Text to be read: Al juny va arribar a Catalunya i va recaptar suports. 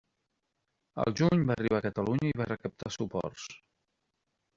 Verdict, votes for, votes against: rejected, 1, 2